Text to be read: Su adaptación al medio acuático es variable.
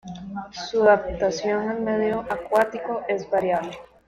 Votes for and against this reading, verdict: 2, 0, accepted